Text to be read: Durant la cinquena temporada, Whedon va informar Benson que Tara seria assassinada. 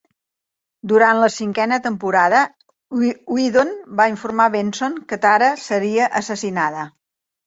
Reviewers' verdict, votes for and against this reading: rejected, 1, 2